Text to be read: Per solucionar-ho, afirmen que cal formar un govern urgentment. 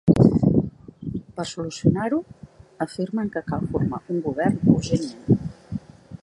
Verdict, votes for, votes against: accepted, 3, 0